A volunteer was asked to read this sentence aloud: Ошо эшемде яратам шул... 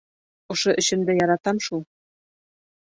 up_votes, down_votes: 0, 2